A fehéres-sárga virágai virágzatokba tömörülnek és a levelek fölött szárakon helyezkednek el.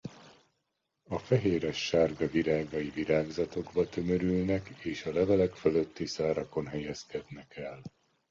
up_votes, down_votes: 0, 2